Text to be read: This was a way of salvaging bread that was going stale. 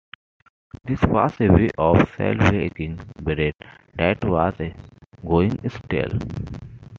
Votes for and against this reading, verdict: 2, 1, accepted